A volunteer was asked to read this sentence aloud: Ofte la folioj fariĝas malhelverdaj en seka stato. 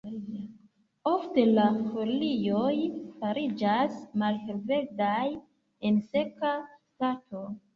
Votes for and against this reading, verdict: 2, 1, accepted